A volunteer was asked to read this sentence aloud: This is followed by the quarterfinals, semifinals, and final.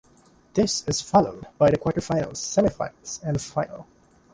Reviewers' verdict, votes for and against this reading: accepted, 2, 1